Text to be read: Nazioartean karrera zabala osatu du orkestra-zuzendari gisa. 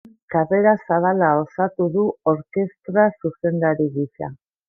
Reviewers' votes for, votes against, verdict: 0, 2, rejected